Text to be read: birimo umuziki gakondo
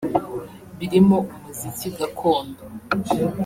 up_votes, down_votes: 1, 2